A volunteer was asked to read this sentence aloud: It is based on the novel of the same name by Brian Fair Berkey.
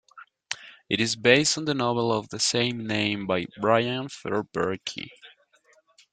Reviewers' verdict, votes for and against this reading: accepted, 2, 1